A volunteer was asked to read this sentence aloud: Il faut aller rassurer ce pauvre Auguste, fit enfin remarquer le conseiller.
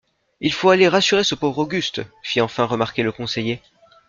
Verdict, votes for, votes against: accepted, 2, 0